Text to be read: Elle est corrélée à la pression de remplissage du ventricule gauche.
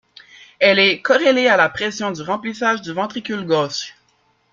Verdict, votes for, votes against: rejected, 1, 2